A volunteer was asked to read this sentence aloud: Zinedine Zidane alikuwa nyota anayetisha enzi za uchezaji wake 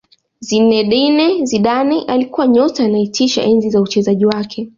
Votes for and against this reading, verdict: 2, 1, accepted